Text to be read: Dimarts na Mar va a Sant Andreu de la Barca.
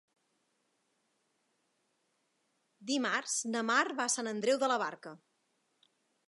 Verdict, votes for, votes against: rejected, 1, 2